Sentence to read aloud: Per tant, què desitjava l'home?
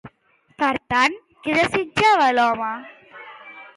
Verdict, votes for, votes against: accepted, 2, 0